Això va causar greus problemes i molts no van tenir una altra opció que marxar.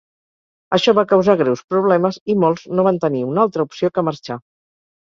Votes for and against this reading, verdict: 4, 0, accepted